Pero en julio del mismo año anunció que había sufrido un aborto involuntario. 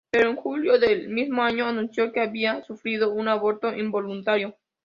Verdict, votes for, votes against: accepted, 2, 0